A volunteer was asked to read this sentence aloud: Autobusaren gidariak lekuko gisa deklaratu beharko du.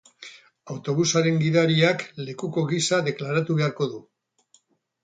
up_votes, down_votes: 6, 2